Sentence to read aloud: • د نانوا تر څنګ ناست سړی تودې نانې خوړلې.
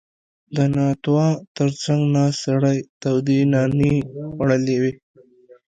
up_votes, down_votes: 0, 2